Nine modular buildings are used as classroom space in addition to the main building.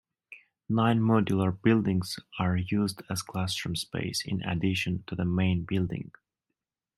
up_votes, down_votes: 2, 1